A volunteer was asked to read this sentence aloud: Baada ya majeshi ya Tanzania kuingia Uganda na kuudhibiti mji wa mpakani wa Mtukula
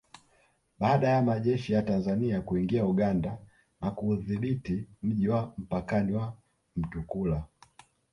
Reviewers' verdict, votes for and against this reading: rejected, 1, 2